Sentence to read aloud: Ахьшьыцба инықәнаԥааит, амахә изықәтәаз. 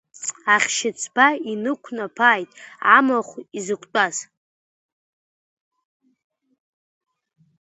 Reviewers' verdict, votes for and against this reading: accepted, 2, 0